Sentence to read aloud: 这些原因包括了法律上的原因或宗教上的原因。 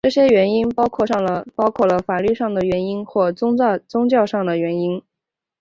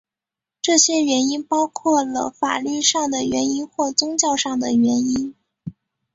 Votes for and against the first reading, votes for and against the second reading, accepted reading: 1, 2, 3, 0, second